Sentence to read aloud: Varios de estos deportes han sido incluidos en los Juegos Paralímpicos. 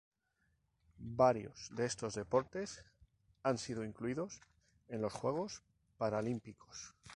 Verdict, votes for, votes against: accepted, 2, 0